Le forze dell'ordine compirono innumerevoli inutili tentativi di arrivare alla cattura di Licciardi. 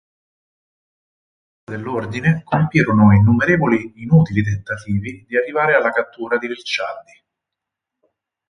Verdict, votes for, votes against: rejected, 0, 4